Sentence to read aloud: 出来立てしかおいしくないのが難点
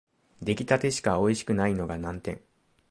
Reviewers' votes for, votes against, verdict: 2, 0, accepted